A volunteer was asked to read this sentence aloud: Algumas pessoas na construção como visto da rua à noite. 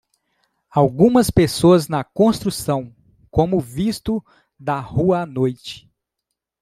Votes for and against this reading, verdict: 2, 0, accepted